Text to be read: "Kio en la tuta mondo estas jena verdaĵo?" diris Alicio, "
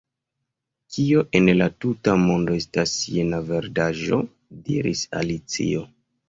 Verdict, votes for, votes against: accepted, 2, 0